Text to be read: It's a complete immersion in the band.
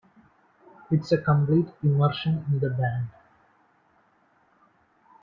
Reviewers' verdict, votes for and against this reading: rejected, 1, 2